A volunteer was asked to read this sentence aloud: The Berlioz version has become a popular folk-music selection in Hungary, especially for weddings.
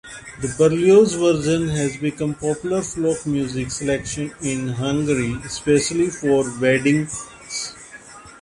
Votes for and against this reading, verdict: 0, 2, rejected